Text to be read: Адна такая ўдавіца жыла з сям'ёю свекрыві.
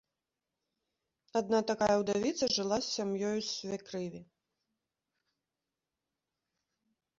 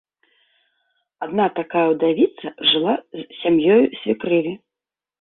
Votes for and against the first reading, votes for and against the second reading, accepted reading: 0, 2, 2, 0, second